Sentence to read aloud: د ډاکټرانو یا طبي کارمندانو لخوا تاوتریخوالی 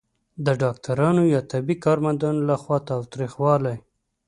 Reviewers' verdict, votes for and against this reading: accepted, 2, 0